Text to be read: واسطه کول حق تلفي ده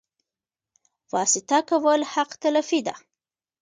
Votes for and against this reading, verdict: 1, 2, rejected